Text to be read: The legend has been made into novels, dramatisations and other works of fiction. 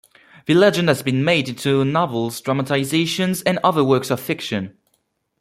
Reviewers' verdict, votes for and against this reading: accepted, 2, 0